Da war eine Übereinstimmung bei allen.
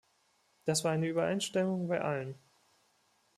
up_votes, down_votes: 1, 2